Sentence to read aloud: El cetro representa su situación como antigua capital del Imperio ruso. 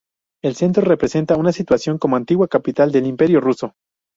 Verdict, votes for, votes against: rejected, 0, 2